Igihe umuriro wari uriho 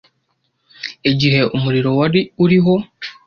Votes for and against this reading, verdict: 2, 0, accepted